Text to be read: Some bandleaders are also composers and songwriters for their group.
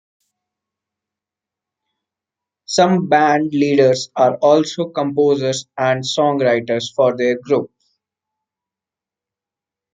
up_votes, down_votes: 2, 1